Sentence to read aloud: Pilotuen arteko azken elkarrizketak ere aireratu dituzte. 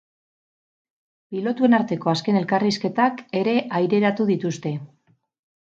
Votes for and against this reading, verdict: 0, 2, rejected